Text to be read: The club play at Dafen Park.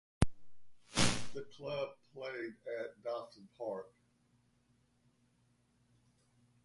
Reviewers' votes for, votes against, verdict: 1, 2, rejected